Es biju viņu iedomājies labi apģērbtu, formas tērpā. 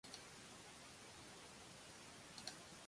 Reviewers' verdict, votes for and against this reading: rejected, 0, 2